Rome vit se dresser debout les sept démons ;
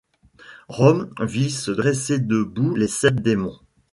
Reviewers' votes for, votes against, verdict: 1, 2, rejected